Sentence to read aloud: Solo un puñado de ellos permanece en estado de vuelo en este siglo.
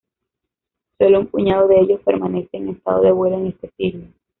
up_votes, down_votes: 2, 0